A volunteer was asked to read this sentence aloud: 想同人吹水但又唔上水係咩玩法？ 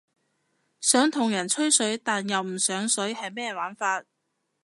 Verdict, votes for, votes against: accepted, 2, 0